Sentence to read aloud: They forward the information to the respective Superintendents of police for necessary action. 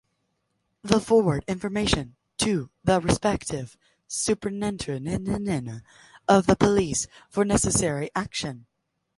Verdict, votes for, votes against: rejected, 0, 2